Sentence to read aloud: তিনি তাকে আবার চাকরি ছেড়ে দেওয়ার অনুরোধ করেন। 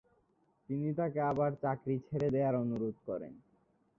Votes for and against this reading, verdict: 1, 2, rejected